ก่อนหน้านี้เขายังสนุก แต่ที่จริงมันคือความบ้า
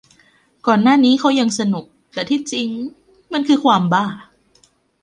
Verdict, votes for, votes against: rejected, 1, 2